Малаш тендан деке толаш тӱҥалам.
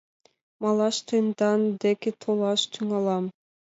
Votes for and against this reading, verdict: 2, 0, accepted